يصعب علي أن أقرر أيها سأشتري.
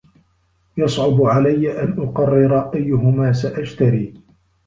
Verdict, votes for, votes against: rejected, 0, 2